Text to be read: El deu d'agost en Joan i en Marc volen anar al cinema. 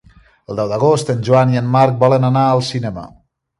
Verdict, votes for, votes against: accepted, 3, 0